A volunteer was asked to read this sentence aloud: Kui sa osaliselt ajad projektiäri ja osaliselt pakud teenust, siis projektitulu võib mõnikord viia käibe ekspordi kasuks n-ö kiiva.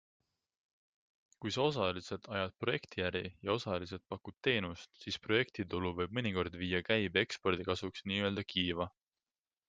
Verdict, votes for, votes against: accepted, 2, 0